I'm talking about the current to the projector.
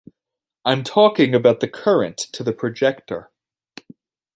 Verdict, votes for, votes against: accepted, 2, 0